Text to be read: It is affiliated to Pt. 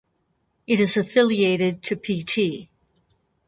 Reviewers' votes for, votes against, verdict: 4, 0, accepted